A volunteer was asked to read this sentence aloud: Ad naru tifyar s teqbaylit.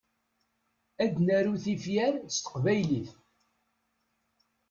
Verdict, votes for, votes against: accepted, 2, 0